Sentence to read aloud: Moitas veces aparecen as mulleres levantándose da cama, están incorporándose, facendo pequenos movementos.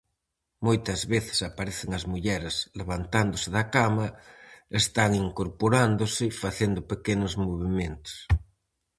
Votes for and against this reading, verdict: 4, 0, accepted